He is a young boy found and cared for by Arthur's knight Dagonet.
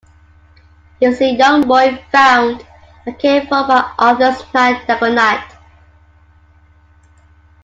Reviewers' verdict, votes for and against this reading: rejected, 0, 2